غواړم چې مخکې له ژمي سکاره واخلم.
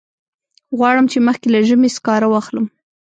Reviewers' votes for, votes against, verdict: 1, 2, rejected